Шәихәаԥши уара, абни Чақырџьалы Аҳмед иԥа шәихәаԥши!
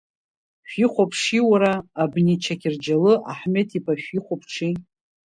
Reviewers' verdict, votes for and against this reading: rejected, 1, 2